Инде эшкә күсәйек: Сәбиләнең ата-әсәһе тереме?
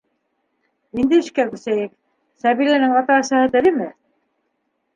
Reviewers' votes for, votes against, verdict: 1, 2, rejected